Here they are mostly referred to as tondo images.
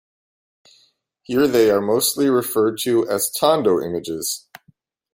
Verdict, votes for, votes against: accepted, 2, 0